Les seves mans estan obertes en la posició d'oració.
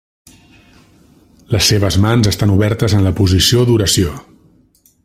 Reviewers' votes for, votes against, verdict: 3, 0, accepted